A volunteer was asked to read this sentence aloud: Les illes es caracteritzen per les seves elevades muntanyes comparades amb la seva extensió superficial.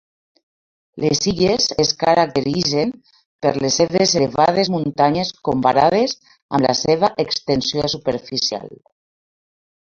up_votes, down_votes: 2, 0